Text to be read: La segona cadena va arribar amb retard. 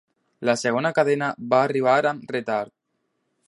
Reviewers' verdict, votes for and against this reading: accepted, 2, 0